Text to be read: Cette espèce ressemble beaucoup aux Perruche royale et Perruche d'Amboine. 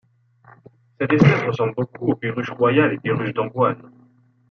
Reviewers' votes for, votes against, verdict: 1, 2, rejected